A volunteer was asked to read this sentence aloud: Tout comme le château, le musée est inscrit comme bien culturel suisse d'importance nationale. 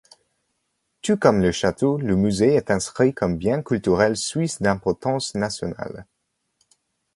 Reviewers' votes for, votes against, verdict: 1, 2, rejected